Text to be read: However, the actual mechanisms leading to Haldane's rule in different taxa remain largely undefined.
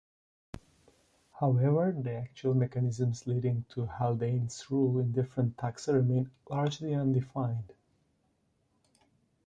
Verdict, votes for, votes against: accepted, 2, 1